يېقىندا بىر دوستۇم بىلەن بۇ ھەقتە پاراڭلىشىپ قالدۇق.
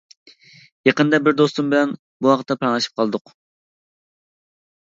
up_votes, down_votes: 1, 2